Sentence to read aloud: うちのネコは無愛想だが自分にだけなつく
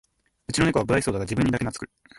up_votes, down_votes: 2, 1